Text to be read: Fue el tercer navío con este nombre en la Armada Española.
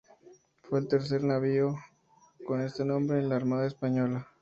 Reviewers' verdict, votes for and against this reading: accepted, 2, 0